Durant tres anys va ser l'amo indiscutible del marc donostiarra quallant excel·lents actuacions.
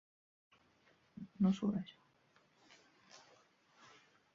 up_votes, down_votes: 0, 2